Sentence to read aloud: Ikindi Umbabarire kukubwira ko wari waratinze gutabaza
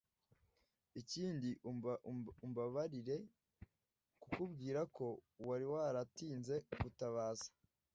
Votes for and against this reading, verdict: 0, 2, rejected